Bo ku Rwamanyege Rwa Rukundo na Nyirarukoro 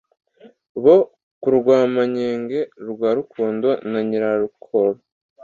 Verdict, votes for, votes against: accepted, 2, 0